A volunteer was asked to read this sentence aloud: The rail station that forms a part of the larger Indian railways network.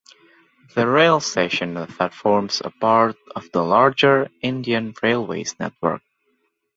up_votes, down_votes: 0, 2